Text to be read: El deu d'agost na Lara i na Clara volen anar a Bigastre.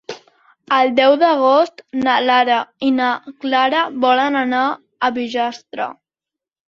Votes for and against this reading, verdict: 1, 2, rejected